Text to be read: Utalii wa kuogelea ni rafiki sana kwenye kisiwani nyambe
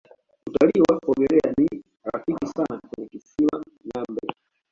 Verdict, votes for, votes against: rejected, 1, 2